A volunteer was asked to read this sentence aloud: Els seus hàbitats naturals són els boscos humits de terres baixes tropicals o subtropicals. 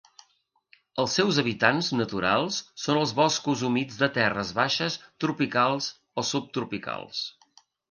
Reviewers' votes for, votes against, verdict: 1, 6, rejected